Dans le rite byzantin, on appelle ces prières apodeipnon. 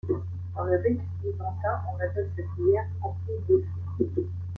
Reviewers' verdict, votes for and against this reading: rejected, 0, 2